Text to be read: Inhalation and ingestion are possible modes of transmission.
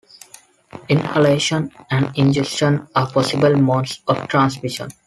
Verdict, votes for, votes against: accepted, 2, 1